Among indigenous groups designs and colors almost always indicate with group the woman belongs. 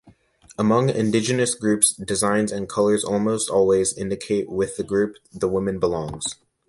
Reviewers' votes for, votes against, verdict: 1, 2, rejected